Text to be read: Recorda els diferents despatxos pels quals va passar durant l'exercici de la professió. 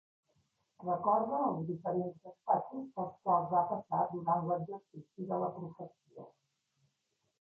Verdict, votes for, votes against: accepted, 2, 1